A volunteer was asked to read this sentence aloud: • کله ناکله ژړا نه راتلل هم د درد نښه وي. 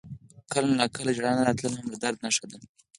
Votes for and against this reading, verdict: 4, 0, accepted